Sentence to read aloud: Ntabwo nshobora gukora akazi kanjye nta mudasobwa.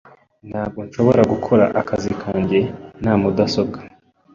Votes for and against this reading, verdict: 2, 0, accepted